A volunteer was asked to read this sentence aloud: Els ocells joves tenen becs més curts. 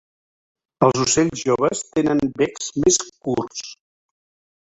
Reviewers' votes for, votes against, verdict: 1, 2, rejected